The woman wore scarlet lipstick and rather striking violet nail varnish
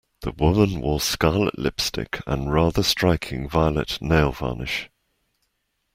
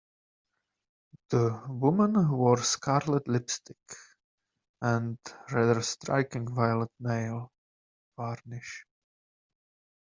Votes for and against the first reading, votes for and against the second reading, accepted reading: 1, 2, 2, 0, second